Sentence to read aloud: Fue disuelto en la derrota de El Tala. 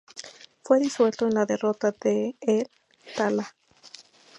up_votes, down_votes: 2, 0